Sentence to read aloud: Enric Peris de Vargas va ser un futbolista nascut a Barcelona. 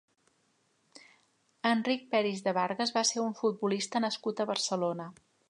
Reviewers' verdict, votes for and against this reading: accepted, 2, 0